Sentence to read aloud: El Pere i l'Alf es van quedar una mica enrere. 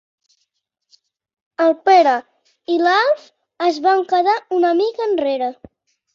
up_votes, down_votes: 3, 0